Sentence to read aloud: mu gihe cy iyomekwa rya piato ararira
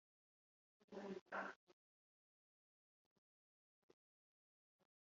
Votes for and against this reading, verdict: 0, 2, rejected